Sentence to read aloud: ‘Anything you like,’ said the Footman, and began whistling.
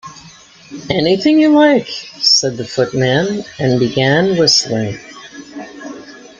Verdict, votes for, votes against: accepted, 2, 0